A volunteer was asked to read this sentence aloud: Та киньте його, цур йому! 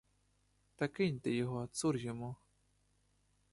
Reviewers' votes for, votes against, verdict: 2, 0, accepted